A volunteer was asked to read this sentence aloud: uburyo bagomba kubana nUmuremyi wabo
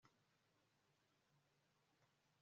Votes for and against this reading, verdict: 2, 3, rejected